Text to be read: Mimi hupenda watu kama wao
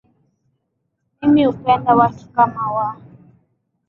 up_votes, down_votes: 2, 1